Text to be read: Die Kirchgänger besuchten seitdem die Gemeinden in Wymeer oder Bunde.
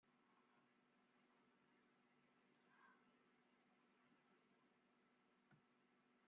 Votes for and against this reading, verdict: 0, 2, rejected